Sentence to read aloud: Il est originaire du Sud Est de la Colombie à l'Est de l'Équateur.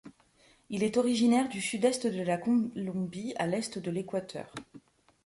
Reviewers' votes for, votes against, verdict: 0, 2, rejected